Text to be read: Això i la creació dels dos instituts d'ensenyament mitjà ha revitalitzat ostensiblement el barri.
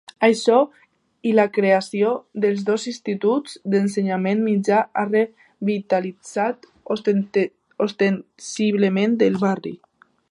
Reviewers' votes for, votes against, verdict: 1, 2, rejected